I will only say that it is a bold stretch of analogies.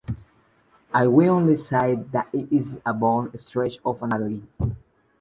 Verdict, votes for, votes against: rejected, 0, 2